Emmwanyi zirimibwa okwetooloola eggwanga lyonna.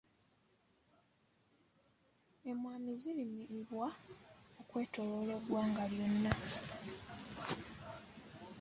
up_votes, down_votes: 0, 2